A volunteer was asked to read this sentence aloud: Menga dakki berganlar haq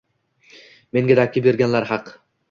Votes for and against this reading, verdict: 2, 1, accepted